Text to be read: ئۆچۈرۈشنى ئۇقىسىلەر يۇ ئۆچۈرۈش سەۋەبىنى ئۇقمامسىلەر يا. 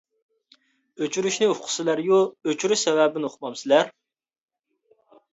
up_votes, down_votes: 0, 2